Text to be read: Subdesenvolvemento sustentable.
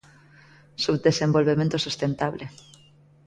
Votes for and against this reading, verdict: 2, 0, accepted